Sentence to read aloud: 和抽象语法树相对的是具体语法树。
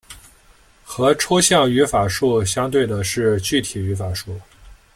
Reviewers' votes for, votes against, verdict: 2, 0, accepted